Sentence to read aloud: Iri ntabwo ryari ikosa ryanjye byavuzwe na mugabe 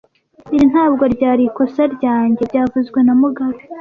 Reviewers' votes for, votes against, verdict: 2, 0, accepted